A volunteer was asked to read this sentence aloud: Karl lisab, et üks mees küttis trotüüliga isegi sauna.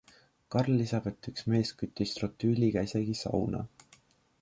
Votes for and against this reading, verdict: 2, 0, accepted